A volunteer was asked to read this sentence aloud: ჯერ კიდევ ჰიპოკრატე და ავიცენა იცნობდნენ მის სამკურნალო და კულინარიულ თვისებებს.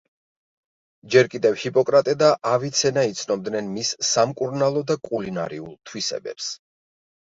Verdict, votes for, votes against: accepted, 2, 0